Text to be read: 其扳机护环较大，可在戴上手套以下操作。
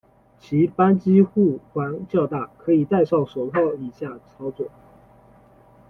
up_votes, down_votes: 1, 2